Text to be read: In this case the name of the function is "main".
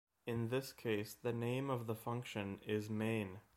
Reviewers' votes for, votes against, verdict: 1, 2, rejected